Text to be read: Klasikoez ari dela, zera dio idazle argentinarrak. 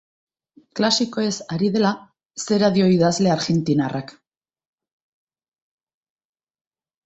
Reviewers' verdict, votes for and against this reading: accepted, 3, 0